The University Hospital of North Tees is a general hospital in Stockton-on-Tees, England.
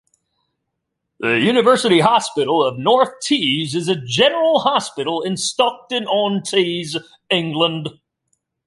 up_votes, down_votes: 2, 0